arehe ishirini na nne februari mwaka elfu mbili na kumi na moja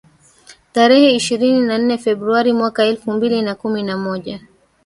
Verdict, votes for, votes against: accepted, 2, 1